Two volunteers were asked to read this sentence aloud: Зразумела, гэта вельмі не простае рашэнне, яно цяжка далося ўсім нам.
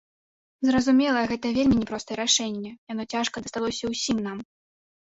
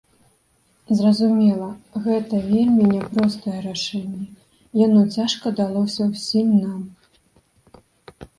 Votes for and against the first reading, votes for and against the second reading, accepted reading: 1, 2, 2, 0, second